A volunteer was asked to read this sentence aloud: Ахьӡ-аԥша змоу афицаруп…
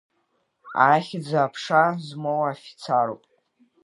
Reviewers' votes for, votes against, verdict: 2, 1, accepted